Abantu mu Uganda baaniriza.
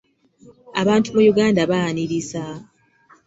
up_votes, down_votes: 2, 0